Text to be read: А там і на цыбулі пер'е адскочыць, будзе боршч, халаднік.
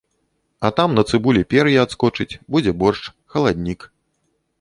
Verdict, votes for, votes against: rejected, 1, 2